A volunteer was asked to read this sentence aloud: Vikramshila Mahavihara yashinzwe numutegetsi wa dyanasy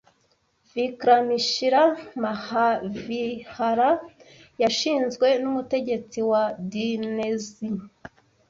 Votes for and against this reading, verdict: 1, 2, rejected